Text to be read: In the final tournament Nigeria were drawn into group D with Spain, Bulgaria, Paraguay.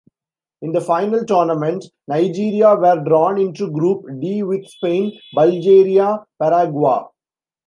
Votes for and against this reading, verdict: 0, 2, rejected